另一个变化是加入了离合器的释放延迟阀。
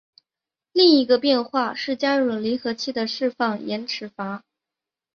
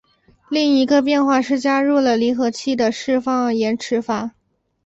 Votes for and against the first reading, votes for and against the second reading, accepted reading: 1, 2, 4, 0, second